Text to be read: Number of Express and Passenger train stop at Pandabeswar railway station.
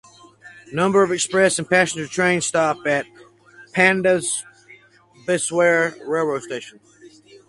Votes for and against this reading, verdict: 2, 4, rejected